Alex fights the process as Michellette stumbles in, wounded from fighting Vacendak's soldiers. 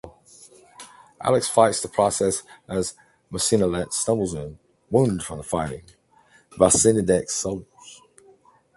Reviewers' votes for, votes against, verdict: 0, 2, rejected